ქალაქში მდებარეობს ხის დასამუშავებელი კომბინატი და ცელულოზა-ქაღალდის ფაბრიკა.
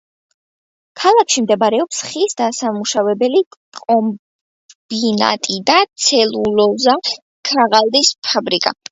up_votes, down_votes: 2, 0